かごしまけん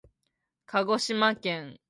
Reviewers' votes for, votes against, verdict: 2, 0, accepted